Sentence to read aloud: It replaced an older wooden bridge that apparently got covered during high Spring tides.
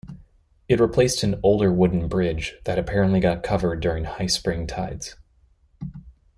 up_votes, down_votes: 2, 0